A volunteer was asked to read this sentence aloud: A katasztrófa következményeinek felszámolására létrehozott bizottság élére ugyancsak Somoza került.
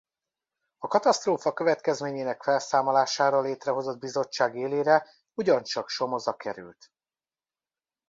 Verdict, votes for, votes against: rejected, 1, 2